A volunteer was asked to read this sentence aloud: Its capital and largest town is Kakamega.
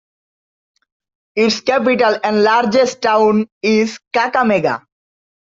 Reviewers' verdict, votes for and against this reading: accepted, 2, 1